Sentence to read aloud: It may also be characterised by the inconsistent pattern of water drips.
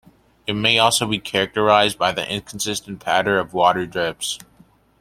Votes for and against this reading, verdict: 2, 1, accepted